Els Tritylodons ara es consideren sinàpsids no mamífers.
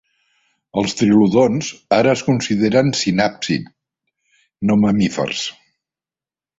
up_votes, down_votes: 1, 2